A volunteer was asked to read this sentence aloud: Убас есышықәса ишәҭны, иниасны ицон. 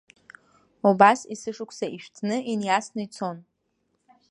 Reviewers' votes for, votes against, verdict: 1, 2, rejected